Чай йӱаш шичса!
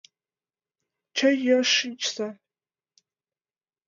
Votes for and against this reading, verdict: 3, 2, accepted